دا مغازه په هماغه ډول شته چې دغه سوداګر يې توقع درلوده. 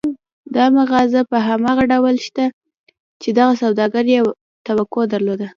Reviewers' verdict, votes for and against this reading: rejected, 1, 2